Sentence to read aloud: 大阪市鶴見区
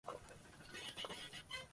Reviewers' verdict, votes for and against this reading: rejected, 0, 2